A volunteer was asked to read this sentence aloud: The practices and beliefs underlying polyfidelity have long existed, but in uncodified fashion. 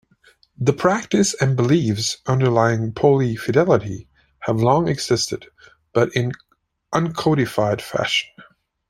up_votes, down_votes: 1, 2